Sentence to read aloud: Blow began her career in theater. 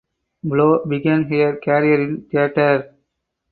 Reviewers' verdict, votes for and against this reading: accepted, 4, 2